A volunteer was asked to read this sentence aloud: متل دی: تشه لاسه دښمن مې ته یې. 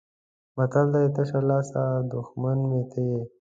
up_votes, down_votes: 2, 1